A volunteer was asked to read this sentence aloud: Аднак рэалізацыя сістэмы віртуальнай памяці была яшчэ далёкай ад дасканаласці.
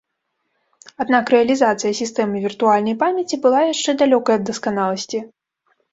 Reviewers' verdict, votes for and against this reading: accepted, 2, 0